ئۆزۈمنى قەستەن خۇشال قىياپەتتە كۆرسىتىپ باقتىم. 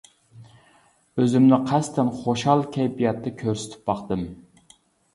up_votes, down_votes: 0, 2